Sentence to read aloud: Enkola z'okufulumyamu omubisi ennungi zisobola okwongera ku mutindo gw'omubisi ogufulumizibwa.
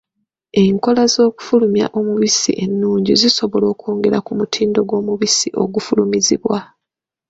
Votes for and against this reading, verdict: 2, 0, accepted